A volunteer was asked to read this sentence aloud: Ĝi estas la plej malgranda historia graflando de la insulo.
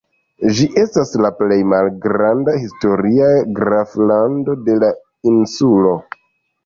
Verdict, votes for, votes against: rejected, 1, 2